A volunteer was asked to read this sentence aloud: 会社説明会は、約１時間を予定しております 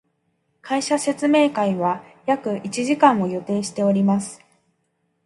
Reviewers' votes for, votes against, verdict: 0, 2, rejected